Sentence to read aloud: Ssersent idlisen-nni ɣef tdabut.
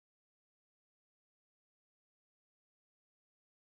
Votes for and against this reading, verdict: 0, 2, rejected